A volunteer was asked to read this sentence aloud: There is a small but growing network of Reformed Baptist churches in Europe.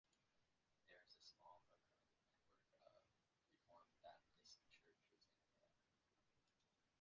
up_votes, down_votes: 0, 2